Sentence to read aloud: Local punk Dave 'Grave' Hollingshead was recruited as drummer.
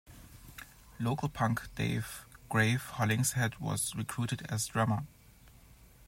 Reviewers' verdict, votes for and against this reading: accepted, 2, 0